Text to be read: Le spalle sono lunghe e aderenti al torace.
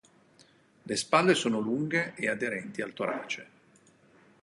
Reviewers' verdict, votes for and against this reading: rejected, 2, 2